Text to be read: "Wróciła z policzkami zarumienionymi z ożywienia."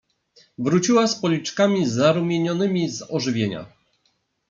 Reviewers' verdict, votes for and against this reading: accepted, 2, 0